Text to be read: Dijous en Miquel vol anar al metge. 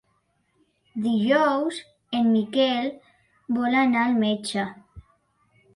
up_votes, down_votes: 2, 0